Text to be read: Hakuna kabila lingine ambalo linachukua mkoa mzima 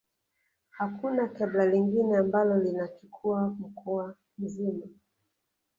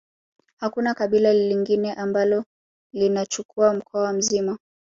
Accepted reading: second